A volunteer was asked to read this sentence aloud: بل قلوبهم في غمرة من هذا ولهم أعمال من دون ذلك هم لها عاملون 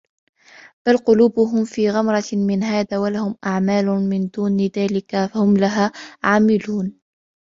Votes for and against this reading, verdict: 2, 1, accepted